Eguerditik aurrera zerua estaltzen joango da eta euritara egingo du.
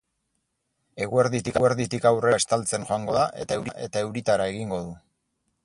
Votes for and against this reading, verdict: 2, 6, rejected